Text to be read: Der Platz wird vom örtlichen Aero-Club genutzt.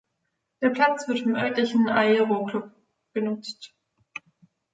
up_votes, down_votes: 0, 2